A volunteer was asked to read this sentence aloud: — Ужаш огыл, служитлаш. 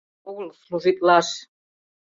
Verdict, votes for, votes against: rejected, 0, 2